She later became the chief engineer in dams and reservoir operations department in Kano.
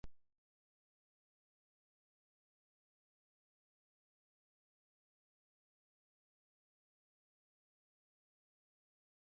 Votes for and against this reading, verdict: 0, 2, rejected